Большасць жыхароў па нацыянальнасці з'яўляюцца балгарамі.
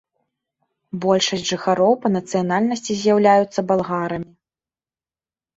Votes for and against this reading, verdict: 2, 3, rejected